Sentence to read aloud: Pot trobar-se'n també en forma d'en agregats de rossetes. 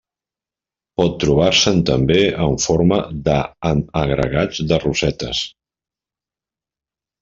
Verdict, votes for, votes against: rejected, 0, 2